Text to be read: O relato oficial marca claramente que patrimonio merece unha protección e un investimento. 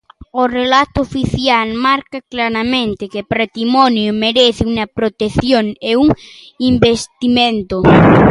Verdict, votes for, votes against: rejected, 0, 2